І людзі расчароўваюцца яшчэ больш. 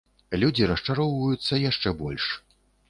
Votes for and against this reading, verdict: 1, 2, rejected